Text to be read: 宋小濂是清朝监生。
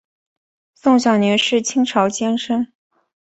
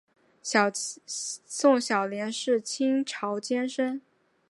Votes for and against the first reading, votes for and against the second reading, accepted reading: 2, 0, 0, 2, first